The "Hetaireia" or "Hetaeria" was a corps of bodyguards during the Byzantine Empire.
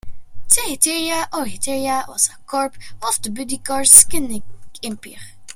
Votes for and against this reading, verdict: 1, 2, rejected